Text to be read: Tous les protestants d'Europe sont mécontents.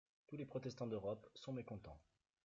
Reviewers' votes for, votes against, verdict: 1, 2, rejected